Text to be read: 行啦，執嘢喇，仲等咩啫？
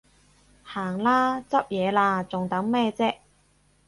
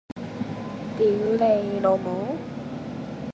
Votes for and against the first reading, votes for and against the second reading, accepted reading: 4, 0, 0, 2, first